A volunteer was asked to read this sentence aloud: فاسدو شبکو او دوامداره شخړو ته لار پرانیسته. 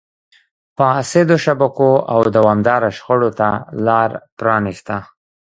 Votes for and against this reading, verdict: 1, 2, rejected